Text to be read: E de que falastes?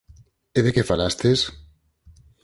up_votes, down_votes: 4, 0